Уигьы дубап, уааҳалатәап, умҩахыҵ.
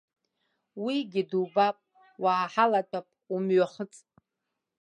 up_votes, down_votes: 2, 0